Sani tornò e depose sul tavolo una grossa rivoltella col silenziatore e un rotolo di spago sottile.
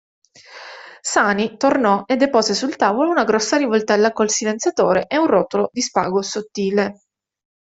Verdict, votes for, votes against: accepted, 2, 0